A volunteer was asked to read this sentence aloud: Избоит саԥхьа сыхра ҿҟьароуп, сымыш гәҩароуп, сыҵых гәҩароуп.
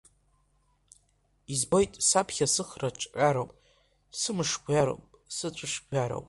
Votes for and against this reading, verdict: 1, 2, rejected